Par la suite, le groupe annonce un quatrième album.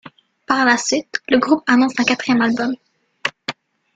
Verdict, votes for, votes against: rejected, 0, 3